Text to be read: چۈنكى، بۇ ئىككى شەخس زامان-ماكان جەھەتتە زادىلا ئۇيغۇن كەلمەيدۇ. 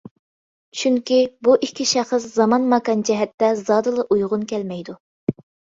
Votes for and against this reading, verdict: 2, 0, accepted